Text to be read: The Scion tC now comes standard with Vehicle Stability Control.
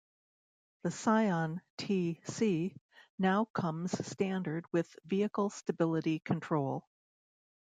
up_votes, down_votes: 1, 2